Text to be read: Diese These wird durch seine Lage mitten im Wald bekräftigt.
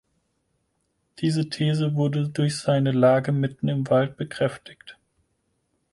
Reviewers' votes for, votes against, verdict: 2, 4, rejected